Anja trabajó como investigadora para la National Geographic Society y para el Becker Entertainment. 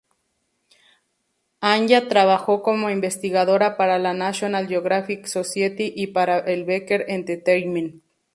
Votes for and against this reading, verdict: 2, 2, rejected